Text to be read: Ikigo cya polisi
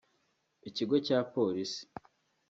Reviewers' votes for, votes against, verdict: 2, 0, accepted